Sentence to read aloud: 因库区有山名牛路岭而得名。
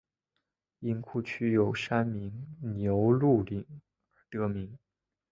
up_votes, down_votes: 3, 2